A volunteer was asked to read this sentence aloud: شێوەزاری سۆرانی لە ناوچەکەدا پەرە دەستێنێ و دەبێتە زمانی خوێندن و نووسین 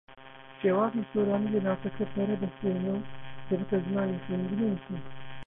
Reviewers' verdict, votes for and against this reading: rejected, 0, 2